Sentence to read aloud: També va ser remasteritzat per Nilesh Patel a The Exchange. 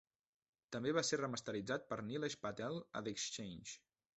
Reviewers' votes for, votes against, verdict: 1, 2, rejected